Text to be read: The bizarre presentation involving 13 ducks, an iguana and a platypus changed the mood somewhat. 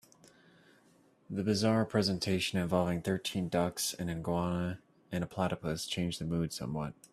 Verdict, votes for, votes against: rejected, 0, 2